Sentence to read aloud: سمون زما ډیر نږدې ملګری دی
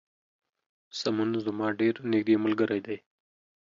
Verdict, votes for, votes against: accepted, 2, 0